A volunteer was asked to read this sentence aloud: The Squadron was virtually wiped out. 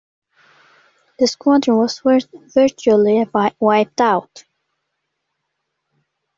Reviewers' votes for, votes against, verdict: 1, 2, rejected